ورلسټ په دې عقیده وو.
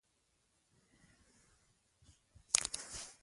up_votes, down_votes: 1, 2